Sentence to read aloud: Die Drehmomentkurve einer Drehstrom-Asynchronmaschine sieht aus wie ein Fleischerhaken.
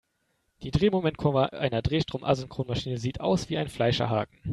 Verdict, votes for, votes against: rejected, 1, 2